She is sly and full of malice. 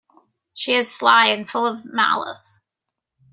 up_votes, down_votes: 0, 2